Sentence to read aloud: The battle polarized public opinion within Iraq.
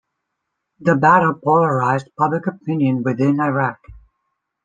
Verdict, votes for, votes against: accepted, 2, 0